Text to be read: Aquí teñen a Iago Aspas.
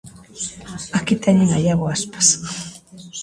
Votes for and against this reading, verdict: 0, 2, rejected